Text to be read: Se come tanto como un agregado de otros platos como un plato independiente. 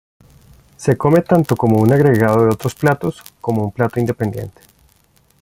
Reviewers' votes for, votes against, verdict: 0, 2, rejected